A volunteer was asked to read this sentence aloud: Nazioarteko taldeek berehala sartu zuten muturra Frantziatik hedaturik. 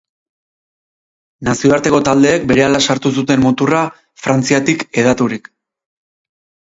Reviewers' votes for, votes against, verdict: 4, 0, accepted